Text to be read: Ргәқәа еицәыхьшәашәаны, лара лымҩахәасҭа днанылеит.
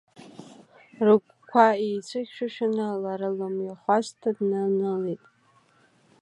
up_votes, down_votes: 2, 1